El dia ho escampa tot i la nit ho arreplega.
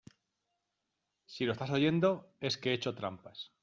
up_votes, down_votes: 0, 2